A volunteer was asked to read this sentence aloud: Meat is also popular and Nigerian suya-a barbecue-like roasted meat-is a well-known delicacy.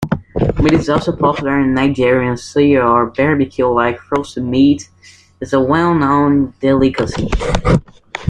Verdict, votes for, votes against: rejected, 0, 2